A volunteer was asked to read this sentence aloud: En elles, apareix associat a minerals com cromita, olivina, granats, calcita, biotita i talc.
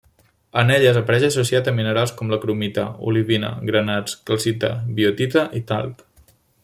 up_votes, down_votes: 2, 0